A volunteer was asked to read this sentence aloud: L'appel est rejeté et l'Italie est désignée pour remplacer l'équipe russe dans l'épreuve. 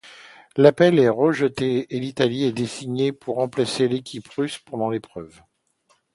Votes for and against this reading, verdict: 0, 2, rejected